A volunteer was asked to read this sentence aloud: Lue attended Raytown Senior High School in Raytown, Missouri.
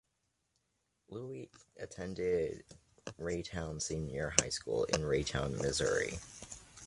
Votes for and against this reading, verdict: 0, 2, rejected